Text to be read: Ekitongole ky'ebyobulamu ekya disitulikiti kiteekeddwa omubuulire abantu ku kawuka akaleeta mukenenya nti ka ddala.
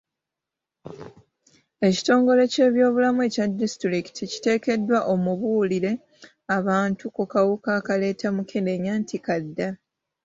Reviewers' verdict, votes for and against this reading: accepted, 2, 0